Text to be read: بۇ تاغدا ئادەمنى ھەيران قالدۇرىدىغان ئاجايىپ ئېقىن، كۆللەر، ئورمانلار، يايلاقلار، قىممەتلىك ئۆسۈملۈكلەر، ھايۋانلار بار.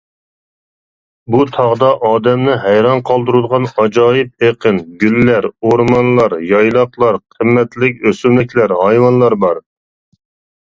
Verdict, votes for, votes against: rejected, 0, 2